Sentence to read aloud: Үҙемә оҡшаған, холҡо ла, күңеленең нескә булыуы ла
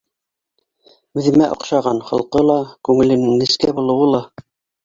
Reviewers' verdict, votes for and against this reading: rejected, 0, 2